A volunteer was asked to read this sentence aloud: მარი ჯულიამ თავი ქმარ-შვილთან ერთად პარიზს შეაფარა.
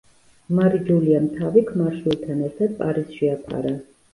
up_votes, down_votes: 1, 2